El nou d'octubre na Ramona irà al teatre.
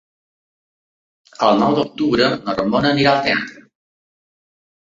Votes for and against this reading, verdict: 2, 4, rejected